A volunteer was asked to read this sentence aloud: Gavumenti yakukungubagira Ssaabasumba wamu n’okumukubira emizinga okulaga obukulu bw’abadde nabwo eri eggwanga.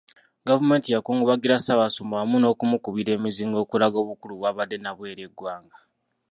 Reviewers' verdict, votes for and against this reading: rejected, 0, 2